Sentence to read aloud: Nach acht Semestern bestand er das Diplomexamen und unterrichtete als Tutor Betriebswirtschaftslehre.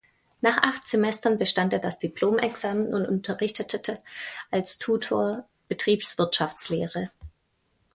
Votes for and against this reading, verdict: 0, 2, rejected